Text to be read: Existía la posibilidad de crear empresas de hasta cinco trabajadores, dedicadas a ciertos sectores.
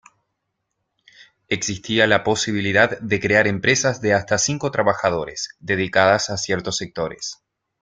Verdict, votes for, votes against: accepted, 2, 0